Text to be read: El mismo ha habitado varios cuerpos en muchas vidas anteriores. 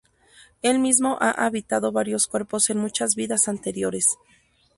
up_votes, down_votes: 2, 0